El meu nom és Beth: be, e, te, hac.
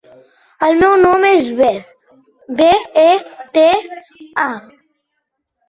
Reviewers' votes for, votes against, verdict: 1, 2, rejected